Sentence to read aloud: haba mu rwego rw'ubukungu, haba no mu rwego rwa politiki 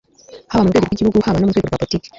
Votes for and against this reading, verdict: 1, 2, rejected